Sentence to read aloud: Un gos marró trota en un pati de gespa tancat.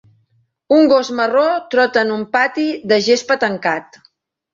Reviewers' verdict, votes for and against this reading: accepted, 4, 0